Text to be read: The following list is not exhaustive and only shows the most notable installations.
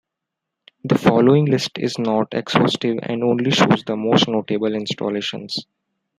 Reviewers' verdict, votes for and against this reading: rejected, 1, 2